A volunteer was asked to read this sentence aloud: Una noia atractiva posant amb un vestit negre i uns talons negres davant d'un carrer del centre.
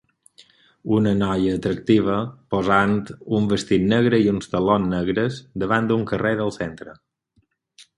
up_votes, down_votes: 2, 4